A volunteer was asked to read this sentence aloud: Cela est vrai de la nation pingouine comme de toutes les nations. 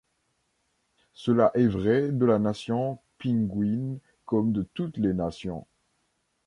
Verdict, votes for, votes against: rejected, 0, 2